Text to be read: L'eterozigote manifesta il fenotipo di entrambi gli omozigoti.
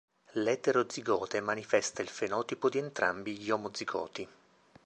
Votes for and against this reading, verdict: 1, 2, rejected